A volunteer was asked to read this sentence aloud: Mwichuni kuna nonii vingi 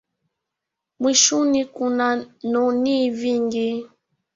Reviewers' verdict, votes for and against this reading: accepted, 2, 0